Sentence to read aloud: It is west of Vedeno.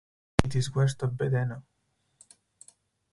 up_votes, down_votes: 4, 2